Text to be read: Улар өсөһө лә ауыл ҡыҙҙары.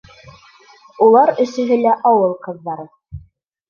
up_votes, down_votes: 1, 2